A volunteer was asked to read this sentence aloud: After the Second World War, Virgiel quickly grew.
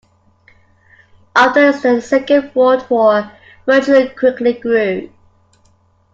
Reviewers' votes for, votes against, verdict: 1, 2, rejected